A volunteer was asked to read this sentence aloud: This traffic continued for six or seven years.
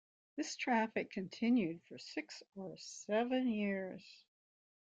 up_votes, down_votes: 2, 0